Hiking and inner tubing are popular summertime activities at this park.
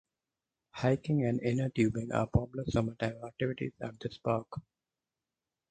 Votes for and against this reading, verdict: 2, 4, rejected